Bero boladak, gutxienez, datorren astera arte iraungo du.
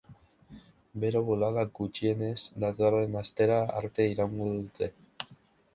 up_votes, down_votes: 0, 2